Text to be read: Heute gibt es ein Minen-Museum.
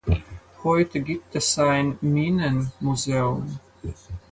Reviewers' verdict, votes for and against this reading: accepted, 4, 0